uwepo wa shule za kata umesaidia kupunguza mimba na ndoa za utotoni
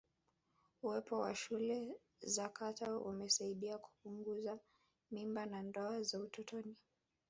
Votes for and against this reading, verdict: 1, 2, rejected